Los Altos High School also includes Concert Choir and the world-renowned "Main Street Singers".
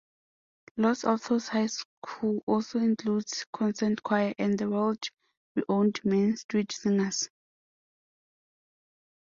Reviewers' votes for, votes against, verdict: 1, 2, rejected